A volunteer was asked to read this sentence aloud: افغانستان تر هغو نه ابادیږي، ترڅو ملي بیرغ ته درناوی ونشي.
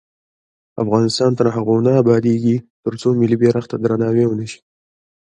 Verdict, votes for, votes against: accepted, 2, 0